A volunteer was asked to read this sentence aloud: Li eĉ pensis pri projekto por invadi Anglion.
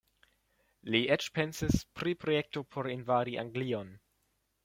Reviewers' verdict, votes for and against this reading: accepted, 2, 0